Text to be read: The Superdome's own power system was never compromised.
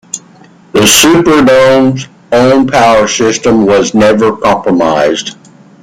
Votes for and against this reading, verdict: 2, 1, accepted